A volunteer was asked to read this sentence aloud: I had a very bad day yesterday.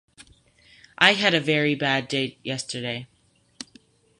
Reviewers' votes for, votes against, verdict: 0, 2, rejected